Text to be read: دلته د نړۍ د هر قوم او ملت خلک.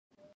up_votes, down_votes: 0, 2